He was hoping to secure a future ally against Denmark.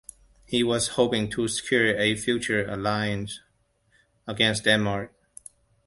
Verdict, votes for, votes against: rejected, 1, 2